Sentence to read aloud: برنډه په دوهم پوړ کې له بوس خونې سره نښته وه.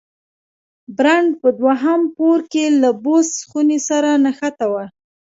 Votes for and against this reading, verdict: 1, 2, rejected